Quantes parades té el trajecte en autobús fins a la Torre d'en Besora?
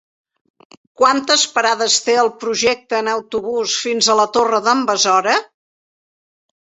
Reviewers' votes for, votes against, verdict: 0, 2, rejected